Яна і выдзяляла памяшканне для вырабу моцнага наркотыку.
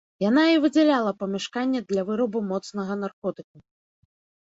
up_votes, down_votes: 2, 0